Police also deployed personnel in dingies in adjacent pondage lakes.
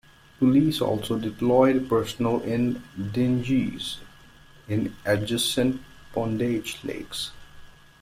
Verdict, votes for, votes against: rejected, 0, 2